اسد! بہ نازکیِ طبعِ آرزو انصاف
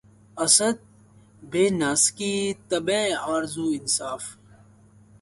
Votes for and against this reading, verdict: 0, 2, rejected